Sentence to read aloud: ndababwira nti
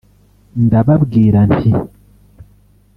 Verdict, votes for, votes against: rejected, 0, 2